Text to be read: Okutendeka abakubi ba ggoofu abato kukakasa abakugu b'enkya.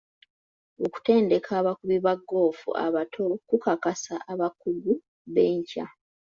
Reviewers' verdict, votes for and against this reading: accepted, 2, 0